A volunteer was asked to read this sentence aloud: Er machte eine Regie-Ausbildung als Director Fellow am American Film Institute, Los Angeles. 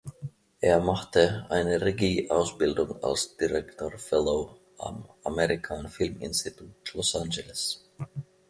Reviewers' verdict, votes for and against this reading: accepted, 2, 1